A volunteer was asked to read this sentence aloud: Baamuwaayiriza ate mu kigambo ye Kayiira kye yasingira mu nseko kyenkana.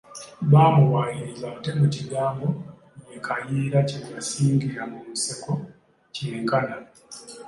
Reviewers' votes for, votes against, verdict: 1, 2, rejected